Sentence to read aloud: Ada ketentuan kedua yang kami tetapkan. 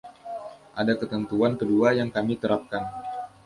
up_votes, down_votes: 0, 2